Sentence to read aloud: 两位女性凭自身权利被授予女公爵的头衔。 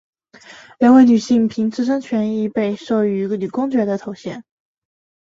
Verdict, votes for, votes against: accepted, 4, 0